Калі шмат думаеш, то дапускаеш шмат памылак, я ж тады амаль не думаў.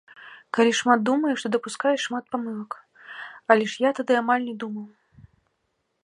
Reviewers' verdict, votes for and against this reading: rejected, 0, 3